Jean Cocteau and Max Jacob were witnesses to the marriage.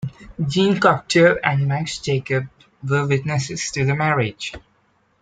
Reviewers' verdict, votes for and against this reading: accepted, 2, 1